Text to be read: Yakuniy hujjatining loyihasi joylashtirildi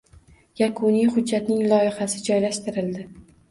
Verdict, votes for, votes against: rejected, 0, 2